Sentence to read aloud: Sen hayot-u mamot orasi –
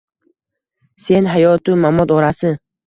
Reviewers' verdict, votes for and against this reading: accepted, 2, 0